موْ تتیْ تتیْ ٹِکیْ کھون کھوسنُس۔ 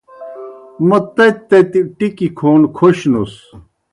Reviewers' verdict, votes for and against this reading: accepted, 2, 0